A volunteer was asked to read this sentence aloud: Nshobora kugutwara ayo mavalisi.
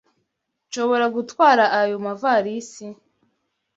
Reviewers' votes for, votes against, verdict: 1, 2, rejected